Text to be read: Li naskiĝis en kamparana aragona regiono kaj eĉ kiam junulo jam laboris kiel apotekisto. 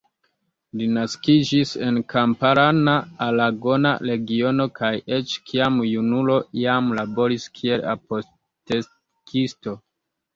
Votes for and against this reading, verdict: 1, 2, rejected